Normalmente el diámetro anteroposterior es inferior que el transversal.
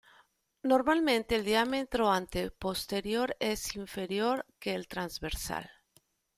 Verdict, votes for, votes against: rejected, 1, 2